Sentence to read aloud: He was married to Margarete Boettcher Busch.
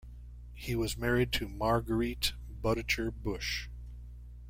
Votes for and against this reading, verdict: 1, 2, rejected